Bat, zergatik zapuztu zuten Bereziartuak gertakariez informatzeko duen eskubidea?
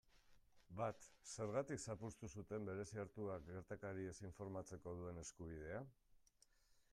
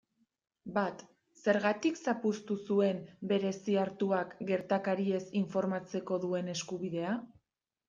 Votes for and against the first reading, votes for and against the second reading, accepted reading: 2, 1, 0, 2, first